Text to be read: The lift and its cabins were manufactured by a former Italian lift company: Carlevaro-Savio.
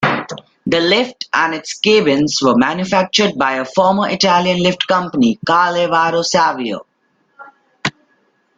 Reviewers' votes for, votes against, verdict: 0, 2, rejected